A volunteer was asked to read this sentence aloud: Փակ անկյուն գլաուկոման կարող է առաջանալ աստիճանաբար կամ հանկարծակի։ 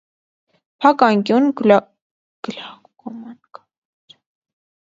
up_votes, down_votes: 0, 2